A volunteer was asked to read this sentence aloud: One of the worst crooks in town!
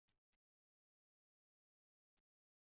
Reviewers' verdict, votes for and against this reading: rejected, 0, 2